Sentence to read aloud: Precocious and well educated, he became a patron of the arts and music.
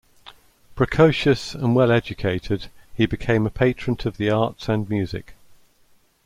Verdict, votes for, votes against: accepted, 2, 0